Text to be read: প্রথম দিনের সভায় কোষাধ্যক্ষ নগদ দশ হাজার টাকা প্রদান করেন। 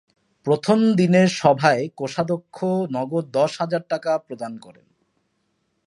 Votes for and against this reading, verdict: 10, 2, accepted